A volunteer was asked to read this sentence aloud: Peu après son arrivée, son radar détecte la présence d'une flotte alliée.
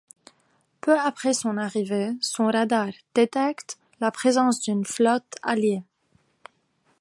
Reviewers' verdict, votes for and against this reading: accepted, 2, 0